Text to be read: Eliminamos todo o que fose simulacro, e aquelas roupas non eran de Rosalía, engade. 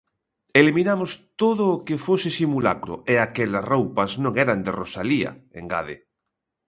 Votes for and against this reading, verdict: 2, 0, accepted